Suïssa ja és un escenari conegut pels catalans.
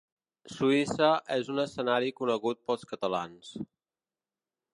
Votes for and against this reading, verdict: 0, 2, rejected